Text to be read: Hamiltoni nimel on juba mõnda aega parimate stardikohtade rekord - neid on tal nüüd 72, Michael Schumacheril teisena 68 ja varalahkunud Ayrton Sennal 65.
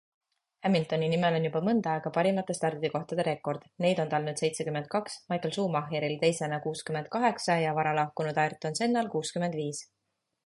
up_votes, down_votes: 0, 2